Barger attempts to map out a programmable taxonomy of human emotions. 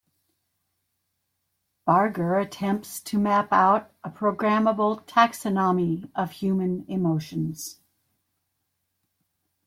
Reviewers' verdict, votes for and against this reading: rejected, 1, 2